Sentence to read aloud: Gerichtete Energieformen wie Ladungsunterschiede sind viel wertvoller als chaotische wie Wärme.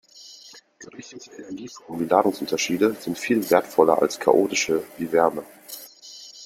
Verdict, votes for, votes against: rejected, 0, 2